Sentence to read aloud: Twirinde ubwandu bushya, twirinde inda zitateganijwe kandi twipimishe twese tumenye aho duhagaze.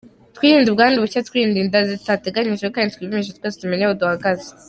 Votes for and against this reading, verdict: 2, 0, accepted